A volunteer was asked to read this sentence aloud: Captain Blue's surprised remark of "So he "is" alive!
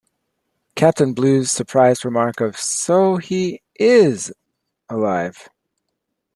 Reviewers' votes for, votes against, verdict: 2, 0, accepted